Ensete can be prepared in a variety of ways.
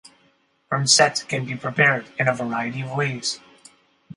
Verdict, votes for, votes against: accepted, 4, 0